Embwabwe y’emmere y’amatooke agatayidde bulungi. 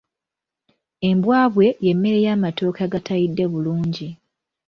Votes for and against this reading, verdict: 2, 0, accepted